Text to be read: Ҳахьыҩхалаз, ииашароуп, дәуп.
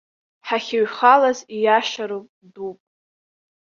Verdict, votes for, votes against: accepted, 2, 0